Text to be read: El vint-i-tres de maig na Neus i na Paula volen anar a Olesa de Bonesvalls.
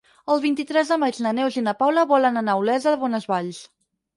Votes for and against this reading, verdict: 4, 0, accepted